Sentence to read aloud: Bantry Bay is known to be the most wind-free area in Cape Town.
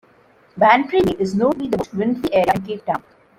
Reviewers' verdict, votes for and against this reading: rejected, 1, 2